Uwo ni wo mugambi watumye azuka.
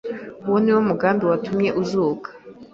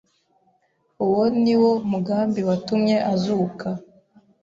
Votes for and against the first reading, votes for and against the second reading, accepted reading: 1, 2, 2, 0, second